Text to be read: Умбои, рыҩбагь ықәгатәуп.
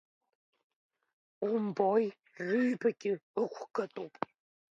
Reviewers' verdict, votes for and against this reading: rejected, 0, 2